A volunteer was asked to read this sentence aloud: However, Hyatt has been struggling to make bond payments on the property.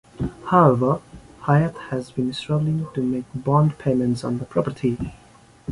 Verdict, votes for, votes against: accepted, 2, 0